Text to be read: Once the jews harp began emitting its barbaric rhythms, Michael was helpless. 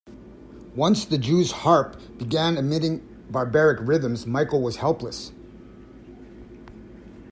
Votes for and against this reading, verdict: 1, 2, rejected